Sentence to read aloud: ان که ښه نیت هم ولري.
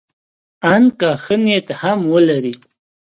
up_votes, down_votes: 2, 0